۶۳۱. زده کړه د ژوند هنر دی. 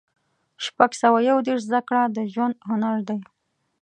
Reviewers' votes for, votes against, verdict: 0, 2, rejected